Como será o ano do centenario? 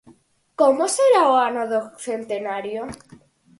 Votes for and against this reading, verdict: 4, 0, accepted